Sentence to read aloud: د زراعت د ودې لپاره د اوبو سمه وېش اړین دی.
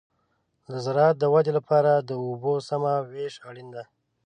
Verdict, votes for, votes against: accepted, 3, 0